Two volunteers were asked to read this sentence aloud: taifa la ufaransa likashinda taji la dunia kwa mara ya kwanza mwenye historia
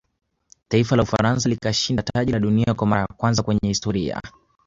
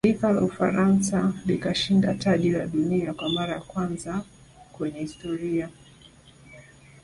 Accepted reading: second